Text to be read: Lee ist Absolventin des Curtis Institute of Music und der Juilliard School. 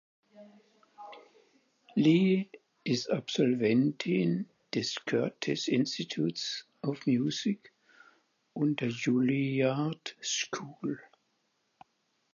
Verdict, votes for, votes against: accepted, 4, 2